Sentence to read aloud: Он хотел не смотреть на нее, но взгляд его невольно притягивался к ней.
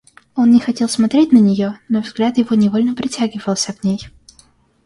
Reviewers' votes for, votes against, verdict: 0, 2, rejected